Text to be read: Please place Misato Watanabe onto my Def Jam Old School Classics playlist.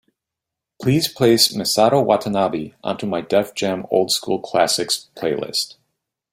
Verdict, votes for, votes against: accepted, 2, 0